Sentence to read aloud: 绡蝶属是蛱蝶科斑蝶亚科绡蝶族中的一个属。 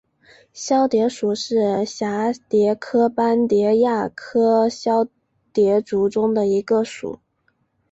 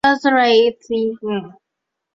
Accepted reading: first